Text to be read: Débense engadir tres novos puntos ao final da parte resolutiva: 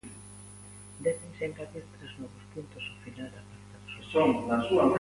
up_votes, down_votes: 0, 2